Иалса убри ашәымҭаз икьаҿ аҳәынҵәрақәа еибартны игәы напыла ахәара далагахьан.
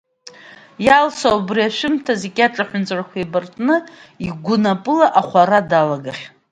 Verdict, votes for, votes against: accepted, 2, 0